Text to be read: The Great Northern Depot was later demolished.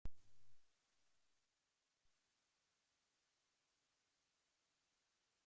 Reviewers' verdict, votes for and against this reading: rejected, 0, 2